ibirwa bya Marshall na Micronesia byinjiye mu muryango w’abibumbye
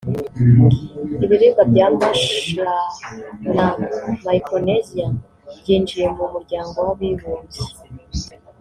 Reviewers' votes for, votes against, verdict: 1, 2, rejected